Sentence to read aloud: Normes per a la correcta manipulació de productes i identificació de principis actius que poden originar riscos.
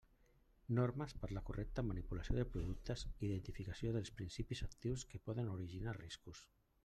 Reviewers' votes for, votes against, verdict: 1, 2, rejected